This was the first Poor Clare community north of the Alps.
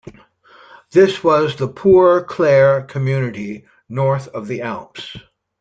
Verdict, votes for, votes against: rejected, 0, 2